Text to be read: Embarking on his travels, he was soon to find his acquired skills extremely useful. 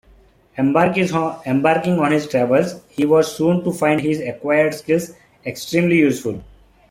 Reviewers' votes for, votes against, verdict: 1, 2, rejected